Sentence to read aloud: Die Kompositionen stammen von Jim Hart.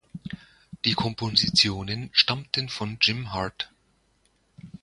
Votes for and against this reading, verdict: 1, 2, rejected